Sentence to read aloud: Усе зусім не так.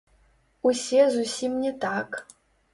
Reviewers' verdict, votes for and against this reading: rejected, 0, 2